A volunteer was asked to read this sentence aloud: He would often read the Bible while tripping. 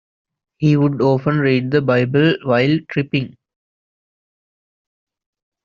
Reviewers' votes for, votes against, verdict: 2, 0, accepted